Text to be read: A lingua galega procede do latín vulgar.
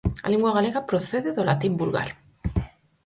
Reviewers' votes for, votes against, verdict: 4, 0, accepted